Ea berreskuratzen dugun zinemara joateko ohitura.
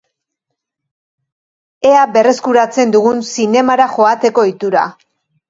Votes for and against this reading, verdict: 2, 0, accepted